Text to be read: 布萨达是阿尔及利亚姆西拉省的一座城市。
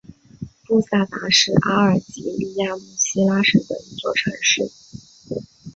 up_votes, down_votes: 1, 3